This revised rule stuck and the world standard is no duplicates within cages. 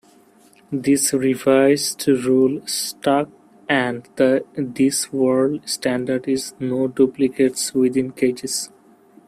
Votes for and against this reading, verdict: 0, 2, rejected